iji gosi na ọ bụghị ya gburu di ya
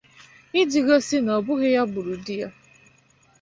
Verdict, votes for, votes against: accepted, 2, 0